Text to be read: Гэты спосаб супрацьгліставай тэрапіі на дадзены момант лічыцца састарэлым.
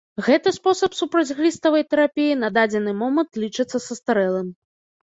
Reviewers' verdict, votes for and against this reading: accepted, 2, 0